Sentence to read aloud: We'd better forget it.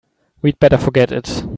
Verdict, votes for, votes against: accepted, 2, 0